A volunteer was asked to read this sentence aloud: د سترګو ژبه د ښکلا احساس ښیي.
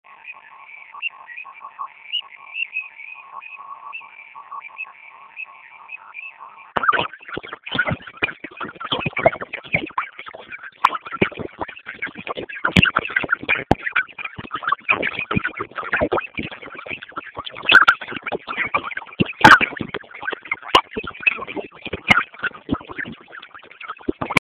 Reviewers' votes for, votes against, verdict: 0, 2, rejected